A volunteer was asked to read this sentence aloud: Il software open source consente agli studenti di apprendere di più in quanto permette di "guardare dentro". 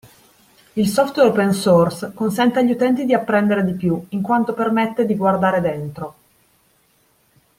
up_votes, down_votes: 1, 2